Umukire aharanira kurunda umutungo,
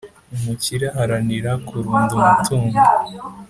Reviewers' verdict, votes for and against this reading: accepted, 2, 0